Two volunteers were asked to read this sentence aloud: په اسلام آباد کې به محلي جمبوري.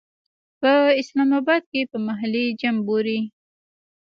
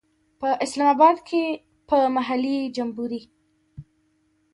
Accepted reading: second